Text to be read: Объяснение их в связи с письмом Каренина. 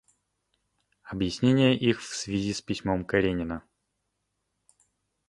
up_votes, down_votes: 2, 0